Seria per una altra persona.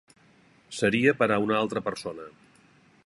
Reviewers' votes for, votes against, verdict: 1, 2, rejected